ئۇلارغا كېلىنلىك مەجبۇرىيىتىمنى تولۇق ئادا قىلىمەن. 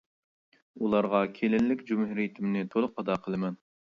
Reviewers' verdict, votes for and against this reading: rejected, 0, 2